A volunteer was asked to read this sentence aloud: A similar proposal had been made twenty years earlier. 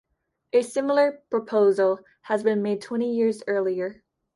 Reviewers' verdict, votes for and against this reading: rejected, 1, 2